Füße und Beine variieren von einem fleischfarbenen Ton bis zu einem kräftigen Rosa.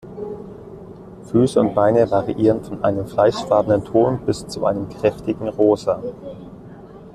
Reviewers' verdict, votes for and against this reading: accepted, 2, 0